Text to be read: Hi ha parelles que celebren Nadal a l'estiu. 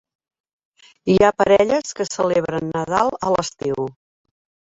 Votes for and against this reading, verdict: 4, 1, accepted